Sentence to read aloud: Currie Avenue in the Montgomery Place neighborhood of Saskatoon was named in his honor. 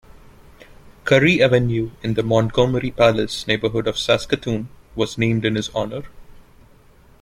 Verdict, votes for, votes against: accepted, 2, 0